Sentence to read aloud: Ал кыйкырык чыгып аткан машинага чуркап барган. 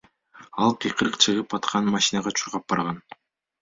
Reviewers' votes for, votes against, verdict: 2, 1, accepted